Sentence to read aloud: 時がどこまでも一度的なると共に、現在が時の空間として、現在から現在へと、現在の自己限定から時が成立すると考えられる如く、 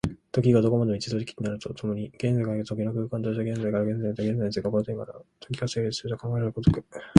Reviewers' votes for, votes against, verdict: 0, 3, rejected